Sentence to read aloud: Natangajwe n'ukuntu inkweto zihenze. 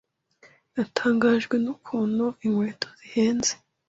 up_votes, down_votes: 2, 0